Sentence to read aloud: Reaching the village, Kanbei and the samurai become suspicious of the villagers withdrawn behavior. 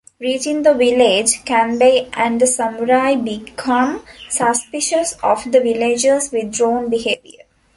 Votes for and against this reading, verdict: 2, 0, accepted